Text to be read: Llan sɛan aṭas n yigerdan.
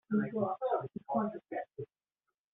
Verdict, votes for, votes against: rejected, 0, 2